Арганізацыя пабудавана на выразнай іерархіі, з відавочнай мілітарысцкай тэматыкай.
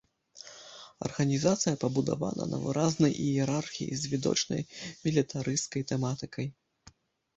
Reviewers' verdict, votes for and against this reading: rejected, 0, 2